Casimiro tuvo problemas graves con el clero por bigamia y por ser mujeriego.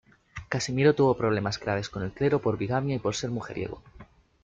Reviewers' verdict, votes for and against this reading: rejected, 1, 2